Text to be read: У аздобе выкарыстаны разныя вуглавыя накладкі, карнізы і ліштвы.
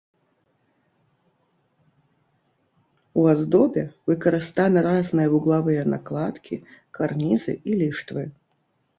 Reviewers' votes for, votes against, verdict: 1, 2, rejected